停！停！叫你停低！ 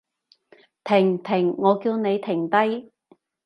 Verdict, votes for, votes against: rejected, 0, 2